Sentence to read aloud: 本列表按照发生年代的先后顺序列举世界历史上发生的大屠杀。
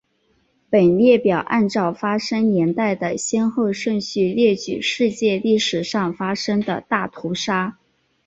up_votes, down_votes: 8, 0